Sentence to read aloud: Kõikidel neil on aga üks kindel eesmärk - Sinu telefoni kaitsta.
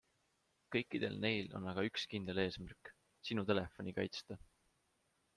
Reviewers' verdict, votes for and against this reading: accepted, 2, 0